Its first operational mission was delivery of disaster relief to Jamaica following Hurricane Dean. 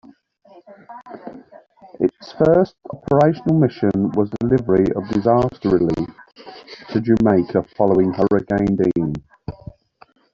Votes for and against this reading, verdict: 3, 0, accepted